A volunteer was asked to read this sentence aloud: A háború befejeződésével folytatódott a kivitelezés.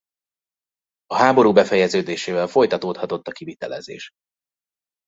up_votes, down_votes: 0, 2